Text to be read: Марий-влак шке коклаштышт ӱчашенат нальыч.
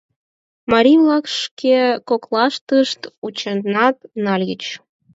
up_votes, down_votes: 0, 4